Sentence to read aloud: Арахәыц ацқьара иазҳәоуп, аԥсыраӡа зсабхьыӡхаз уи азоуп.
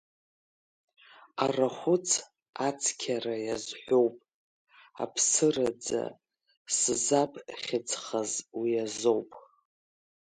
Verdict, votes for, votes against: rejected, 1, 2